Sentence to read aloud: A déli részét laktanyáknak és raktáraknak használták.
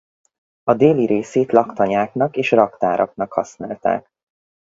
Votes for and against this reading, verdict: 4, 0, accepted